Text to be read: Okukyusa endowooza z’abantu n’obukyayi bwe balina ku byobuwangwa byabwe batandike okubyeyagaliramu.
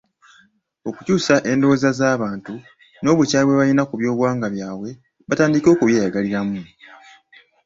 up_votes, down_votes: 2, 0